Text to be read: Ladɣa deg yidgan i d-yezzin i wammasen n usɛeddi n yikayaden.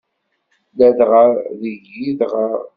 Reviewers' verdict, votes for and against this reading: rejected, 0, 2